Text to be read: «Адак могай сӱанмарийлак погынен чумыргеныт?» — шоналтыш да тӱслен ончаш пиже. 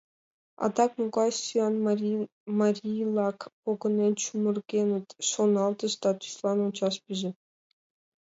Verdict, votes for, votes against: rejected, 0, 2